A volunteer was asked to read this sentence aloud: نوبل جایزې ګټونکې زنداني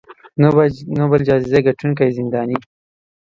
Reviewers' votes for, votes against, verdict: 1, 2, rejected